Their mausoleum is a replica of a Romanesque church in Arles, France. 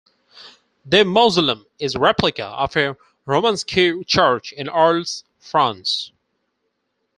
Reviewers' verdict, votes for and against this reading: rejected, 0, 4